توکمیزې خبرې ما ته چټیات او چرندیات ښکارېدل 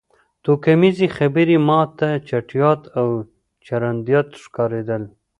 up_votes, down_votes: 1, 2